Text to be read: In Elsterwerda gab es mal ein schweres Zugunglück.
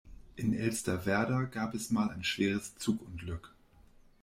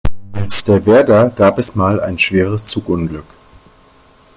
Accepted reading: first